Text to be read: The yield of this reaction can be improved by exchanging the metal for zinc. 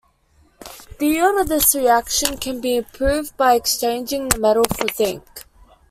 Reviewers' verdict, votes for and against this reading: rejected, 1, 2